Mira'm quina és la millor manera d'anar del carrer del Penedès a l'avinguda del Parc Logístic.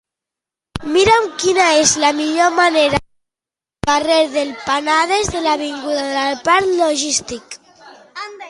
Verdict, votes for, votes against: rejected, 0, 2